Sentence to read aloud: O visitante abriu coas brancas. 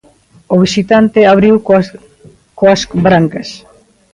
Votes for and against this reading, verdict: 1, 2, rejected